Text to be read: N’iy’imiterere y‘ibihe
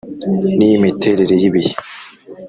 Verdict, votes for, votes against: accepted, 2, 0